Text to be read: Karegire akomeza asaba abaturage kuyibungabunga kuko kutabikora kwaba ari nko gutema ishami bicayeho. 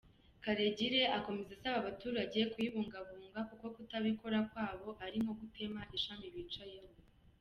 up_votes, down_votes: 1, 2